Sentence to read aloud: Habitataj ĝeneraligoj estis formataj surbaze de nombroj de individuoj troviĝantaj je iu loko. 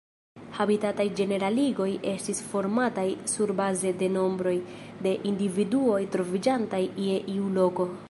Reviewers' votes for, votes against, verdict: 0, 2, rejected